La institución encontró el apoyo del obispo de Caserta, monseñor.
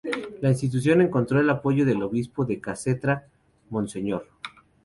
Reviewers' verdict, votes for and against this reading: rejected, 0, 2